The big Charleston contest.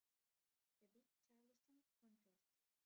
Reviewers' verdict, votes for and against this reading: rejected, 0, 2